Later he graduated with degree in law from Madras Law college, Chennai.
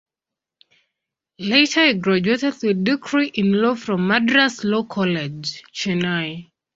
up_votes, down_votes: 0, 2